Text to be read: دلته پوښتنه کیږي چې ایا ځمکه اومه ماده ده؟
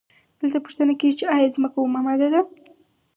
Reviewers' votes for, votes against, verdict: 4, 0, accepted